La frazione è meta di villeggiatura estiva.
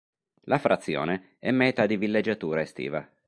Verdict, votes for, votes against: accepted, 2, 0